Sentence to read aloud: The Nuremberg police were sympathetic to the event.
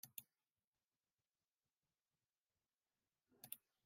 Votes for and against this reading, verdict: 0, 2, rejected